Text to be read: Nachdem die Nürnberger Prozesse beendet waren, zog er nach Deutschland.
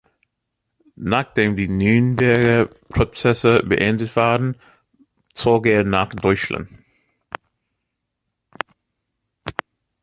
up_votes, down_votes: 2, 1